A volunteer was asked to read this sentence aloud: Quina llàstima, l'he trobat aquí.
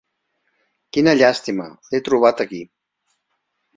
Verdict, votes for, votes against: accepted, 3, 1